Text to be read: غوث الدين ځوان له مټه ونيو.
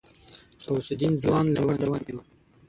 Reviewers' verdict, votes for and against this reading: rejected, 0, 6